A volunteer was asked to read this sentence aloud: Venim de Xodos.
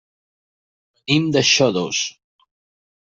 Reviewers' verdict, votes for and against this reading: rejected, 0, 2